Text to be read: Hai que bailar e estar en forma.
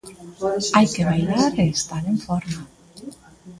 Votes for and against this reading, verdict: 2, 0, accepted